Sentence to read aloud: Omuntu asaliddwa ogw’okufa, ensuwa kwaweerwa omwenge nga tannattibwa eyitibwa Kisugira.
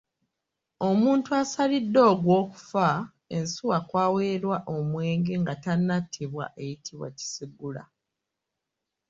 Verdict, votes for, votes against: rejected, 2, 3